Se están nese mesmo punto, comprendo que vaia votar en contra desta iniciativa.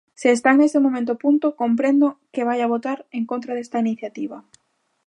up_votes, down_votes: 0, 2